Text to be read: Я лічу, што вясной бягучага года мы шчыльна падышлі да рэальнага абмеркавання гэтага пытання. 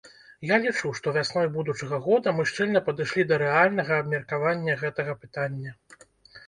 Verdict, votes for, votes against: rejected, 0, 2